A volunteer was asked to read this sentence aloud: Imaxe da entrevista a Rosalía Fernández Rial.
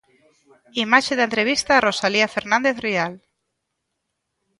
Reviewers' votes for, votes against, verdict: 2, 0, accepted